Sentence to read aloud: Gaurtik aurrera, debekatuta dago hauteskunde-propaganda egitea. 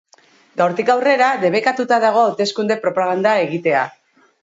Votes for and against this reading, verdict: 0, 2, rejected